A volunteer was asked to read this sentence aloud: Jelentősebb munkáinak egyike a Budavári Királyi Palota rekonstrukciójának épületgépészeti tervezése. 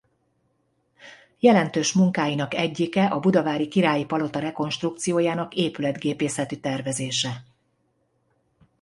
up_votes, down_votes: 0, 2